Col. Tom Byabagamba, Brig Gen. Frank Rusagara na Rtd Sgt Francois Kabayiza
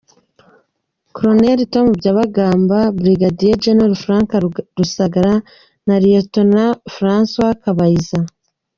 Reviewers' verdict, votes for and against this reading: rejected, 1, 3